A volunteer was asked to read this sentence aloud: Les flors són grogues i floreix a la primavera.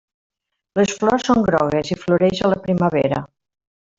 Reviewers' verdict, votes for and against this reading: rejected, 1, 2